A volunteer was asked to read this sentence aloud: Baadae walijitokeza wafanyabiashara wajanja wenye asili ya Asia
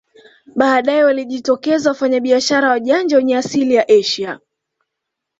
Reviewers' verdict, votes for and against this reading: accepted, 2, 0